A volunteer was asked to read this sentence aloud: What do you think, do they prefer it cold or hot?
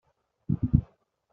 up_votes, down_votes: 0, 3